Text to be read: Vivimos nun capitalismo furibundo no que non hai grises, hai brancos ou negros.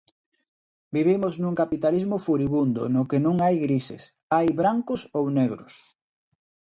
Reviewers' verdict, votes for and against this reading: accepted, 2, 0